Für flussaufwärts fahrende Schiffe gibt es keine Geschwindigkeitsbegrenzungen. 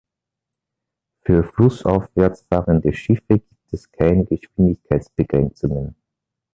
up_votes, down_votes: 0, 2